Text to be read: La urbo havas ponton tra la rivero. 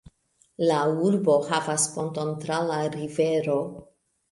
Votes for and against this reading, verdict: 1, 2, rejected